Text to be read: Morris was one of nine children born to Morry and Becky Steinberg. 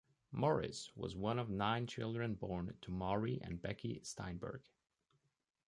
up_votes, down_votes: 2, 0